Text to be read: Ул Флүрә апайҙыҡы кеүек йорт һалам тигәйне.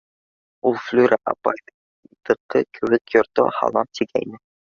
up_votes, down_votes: 0, 2